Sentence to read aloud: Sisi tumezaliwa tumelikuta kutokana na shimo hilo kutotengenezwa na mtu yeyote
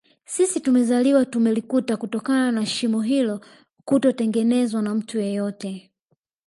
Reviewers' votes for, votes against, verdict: 2, 0, accepted